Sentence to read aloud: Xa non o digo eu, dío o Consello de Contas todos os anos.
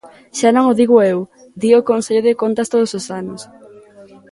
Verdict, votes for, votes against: accepted, 2, 0